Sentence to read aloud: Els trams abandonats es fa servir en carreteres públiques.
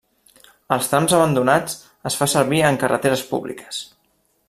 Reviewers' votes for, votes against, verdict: 1, 2, rejected